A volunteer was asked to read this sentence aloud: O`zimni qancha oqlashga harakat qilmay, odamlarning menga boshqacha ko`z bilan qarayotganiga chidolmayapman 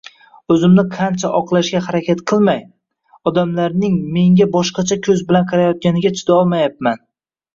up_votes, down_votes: 1, 2